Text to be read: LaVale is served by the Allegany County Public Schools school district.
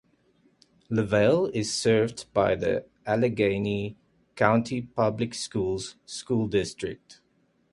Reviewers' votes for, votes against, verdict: 2, 0, accepted